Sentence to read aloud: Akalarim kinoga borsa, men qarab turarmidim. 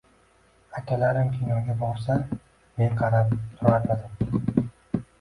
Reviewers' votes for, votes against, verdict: 0, 2, rejected